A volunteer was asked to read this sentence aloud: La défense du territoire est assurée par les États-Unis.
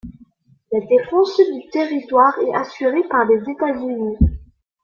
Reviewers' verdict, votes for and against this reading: accepted, 2, 0